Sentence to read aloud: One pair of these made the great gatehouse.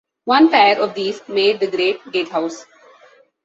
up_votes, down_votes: 2, 0